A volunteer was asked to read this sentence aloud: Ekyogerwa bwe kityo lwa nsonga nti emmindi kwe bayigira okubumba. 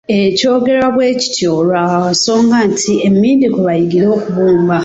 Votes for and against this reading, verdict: 1, 2, rejected